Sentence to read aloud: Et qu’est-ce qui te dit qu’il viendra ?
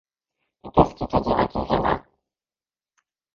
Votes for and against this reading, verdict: 0, 2, rejected